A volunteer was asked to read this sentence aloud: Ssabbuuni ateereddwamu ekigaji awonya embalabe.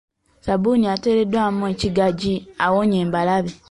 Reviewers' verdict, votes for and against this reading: accepted, 2, 0